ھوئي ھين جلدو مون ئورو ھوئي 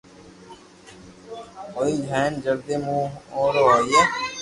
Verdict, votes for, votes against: accepted, 2, 0